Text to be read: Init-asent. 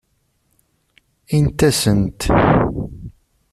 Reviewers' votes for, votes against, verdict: 1, 2, rejected